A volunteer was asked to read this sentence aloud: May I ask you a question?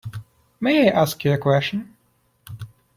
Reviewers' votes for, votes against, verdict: 2, 0, accepted